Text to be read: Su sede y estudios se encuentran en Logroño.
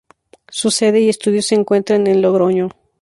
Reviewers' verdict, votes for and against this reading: accepted, 2, 0